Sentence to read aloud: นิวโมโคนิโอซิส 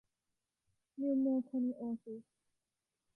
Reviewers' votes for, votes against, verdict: 1, 2, rejected